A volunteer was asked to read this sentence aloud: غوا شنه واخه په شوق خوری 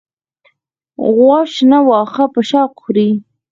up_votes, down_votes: 2, 4